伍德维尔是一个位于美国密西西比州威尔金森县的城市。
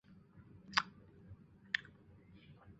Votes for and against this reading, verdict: 0, 3, rejected